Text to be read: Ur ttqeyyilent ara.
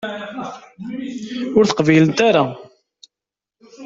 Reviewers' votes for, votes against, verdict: 0, 2, rejected